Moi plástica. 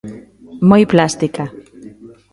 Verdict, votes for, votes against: accepted, 2, 0